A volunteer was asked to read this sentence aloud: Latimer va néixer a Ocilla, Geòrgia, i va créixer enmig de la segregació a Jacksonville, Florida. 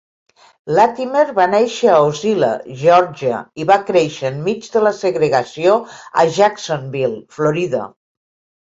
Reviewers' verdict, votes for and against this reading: accepted, 2, 0